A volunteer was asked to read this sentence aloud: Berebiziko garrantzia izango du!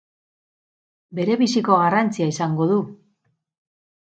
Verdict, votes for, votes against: accepted, 4, 0